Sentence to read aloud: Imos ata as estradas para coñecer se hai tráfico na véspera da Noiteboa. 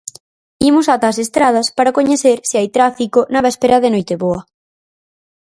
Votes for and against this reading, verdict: 0, 4, rejected